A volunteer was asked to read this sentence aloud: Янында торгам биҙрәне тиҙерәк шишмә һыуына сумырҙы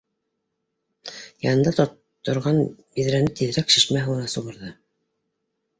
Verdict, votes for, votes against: rejected, 0, 2